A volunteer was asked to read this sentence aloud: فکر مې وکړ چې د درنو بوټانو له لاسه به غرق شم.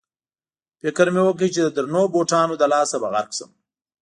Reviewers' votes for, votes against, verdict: 2, 0, accepted